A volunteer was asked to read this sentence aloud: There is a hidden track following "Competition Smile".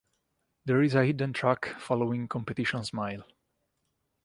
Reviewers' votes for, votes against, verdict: 2, 0, accepted